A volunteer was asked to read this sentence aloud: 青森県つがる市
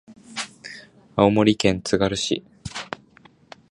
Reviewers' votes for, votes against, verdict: 2, 0, accepted